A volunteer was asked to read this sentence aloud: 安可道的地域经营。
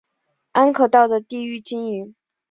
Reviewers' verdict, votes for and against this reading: accepted, 2, 0